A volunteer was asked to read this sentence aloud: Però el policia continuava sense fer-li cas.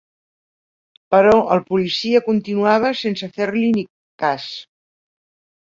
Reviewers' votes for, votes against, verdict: 1, 2, rejected